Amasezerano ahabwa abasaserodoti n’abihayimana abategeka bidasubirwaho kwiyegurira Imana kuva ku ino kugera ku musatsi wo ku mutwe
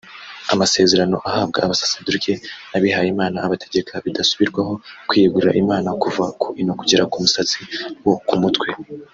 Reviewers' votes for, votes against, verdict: 1, 2, rejected